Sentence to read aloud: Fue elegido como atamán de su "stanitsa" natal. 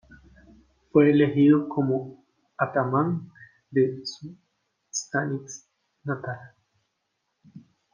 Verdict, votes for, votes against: accepted, 2, 1